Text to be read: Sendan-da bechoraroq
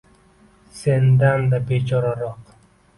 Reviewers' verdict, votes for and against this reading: accepted, 2, 0